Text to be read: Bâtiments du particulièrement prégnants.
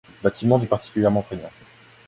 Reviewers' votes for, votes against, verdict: 1, 2, rejected